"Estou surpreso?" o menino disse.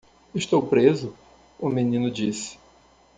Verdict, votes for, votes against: rejected, 1, 2